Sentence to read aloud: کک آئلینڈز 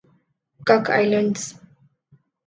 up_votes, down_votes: 2, 0